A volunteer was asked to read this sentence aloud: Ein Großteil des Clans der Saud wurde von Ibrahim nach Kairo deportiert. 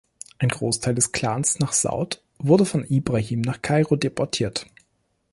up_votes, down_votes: 0, 2